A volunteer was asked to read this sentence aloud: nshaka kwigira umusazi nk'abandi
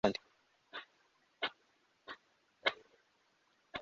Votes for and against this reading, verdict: 0, 2, rejected